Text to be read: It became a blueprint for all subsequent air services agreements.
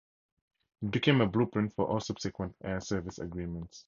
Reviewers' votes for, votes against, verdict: 2, 2, rejected